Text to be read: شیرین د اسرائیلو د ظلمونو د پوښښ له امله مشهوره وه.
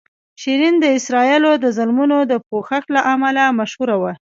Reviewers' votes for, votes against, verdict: 2, 0, accepted